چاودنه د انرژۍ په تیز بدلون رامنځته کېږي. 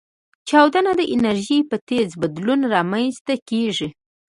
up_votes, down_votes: 2, 0